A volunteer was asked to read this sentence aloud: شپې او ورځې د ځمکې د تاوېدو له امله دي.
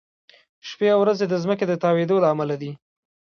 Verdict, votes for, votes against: accepted, 2, 0